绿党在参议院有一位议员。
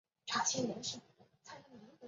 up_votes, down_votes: 0, 2